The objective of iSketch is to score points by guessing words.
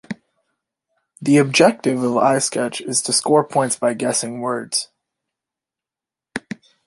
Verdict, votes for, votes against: accepted, 2, 0